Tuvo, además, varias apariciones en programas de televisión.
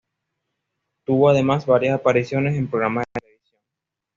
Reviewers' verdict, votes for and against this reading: rejected, 1, 2